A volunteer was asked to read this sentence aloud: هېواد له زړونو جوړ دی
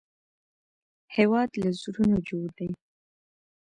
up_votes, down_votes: 2, 0